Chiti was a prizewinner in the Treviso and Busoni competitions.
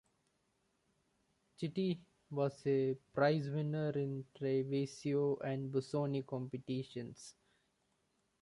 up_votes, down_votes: 1, 2